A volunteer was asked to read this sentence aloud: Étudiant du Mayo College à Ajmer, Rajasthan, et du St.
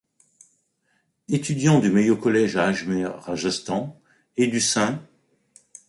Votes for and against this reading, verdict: 1, 2, rejected